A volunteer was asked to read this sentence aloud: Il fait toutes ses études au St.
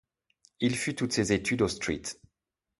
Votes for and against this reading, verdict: 1, 2, rejected